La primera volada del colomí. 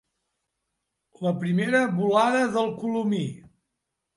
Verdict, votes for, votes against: accepted, 3, 0